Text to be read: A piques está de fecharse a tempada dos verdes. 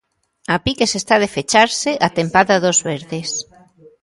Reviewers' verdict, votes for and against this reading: accepted, 2, 0